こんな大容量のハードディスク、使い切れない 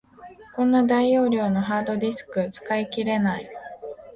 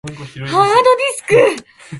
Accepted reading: first